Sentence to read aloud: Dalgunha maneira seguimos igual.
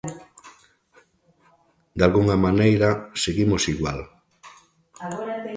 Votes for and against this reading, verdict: 2, 1, accepted